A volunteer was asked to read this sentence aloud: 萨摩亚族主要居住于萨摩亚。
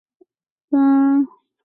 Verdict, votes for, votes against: accepted, 4, 2